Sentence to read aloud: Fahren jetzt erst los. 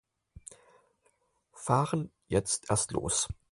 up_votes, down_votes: 4, 0